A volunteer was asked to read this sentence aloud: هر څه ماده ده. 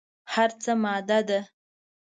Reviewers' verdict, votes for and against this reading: accepted, 2, 0